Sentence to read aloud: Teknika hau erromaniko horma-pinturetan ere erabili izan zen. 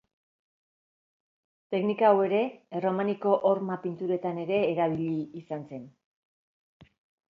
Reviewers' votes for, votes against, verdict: 3, 2, accepted